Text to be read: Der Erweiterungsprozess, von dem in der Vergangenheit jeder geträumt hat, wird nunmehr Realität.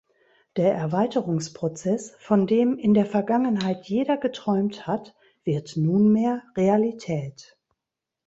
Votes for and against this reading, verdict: 2, 0, accepted